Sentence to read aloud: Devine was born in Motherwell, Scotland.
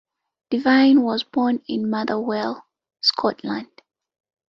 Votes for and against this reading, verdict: 2, 1, accepted